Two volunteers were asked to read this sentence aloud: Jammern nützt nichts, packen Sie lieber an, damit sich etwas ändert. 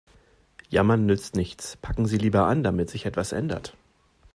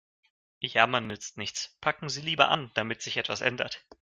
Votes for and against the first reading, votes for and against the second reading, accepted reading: 2, 0, 0, 2, first